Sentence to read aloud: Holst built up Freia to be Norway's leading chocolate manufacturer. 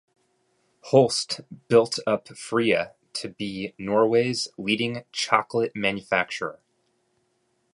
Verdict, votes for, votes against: accepted, 2, 0